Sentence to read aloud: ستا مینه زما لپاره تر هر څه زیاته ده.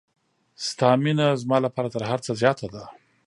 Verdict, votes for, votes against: accepted, 2, 0